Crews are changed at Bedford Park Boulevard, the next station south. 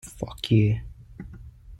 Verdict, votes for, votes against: rejected, 0, 2